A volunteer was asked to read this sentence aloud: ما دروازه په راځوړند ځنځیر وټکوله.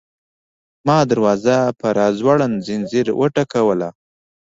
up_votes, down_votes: 2, 0